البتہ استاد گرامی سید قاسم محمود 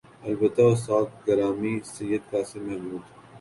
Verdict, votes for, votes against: accepted, 3, 1